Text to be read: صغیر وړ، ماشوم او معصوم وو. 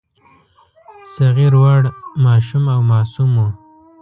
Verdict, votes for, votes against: rejected, 1, 2